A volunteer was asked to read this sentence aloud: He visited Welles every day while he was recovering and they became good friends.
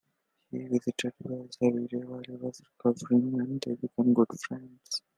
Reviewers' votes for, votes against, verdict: 1, 2, rejected